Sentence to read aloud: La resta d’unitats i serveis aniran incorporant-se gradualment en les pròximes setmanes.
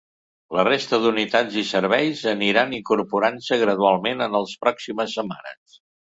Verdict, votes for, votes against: rejected, 0, 2